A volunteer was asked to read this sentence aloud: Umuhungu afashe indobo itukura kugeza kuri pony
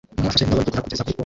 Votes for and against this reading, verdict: 0, 2, rejected